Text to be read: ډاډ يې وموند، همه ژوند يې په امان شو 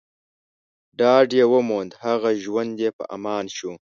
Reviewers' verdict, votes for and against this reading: rejected, 0, 2